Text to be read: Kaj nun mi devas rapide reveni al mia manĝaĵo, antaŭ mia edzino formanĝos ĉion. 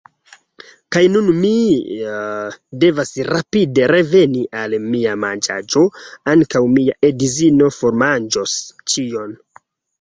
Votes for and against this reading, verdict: 0, 2, rejected